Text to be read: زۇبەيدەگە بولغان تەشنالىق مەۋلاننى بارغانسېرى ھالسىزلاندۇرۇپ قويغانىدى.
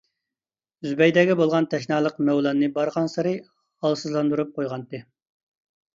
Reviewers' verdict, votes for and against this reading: rejected, 0, 2